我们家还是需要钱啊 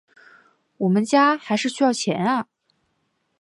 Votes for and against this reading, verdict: 5, 0, accepted